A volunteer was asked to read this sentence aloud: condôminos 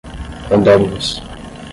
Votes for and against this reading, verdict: 0, 5, rejected